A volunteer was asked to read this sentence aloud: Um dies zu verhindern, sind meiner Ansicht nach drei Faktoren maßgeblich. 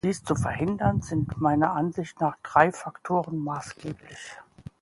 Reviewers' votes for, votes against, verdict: 0, 2, rejected